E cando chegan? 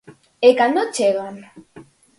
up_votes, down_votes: 4, 0